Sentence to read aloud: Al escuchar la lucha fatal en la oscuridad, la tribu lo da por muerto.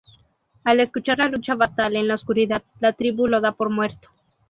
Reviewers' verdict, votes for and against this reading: rejected, 0, 2